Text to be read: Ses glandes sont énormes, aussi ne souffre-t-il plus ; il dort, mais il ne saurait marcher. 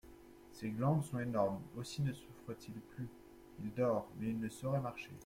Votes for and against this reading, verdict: 2, 0, accepted